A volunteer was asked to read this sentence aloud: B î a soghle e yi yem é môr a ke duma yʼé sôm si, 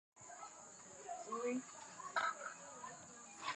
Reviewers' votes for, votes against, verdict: 0, 2, rejected